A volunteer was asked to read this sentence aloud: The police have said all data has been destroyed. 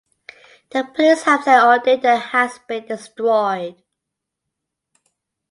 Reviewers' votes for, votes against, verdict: 2, 1, accepted